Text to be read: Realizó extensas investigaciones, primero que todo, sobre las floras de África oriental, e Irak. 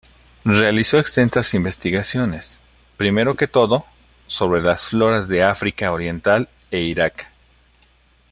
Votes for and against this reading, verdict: 0, 2, rejected